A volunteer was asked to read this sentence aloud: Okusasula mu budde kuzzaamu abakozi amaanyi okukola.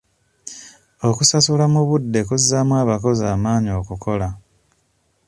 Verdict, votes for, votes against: accepted, 2, 0